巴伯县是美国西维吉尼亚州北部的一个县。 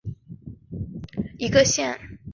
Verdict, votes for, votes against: rejected, 2, 3